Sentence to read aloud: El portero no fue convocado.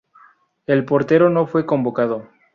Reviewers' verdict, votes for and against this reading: accepted, 2, 0